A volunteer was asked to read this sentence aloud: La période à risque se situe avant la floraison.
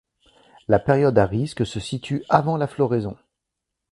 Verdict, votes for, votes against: accepted, 2, 0